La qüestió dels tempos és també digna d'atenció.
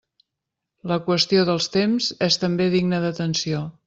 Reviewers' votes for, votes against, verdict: 0, 2, rejected